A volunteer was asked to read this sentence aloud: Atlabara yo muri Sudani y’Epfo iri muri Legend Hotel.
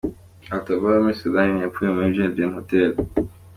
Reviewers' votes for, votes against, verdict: 2, 0, accepted